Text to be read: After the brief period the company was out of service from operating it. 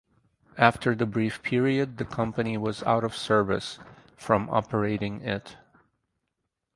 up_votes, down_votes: 4, 0